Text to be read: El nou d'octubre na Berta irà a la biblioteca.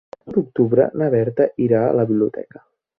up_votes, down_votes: 0, 2